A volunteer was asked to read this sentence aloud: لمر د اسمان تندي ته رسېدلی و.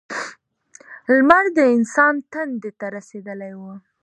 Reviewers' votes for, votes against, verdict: 1, 2, rejected